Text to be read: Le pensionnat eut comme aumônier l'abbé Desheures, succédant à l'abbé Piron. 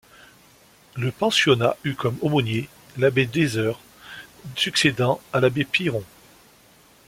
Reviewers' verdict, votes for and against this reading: accepted, 2, 0